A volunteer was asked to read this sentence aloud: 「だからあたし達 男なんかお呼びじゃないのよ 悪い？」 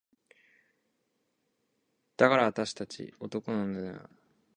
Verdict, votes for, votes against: rejected, 0, 6